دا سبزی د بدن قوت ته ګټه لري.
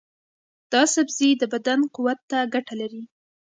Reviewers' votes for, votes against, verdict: 2, 0, accepted